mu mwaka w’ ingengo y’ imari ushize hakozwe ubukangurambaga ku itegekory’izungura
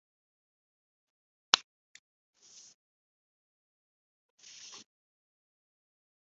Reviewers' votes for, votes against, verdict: 0, 2, rejected